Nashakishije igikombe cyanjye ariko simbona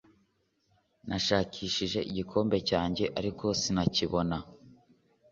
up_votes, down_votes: 1, 2